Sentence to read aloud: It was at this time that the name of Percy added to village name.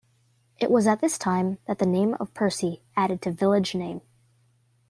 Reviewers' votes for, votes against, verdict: 2, 0, accepted